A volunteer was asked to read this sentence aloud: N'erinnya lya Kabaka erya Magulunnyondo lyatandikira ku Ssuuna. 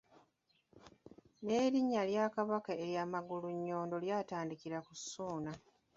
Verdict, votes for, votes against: rejected, 1, 2